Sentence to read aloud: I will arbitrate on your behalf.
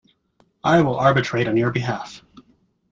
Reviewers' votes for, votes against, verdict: 2, 0, accepted